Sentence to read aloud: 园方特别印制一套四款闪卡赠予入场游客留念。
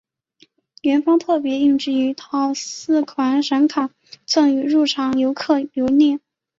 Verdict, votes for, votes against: accepted, 4, 1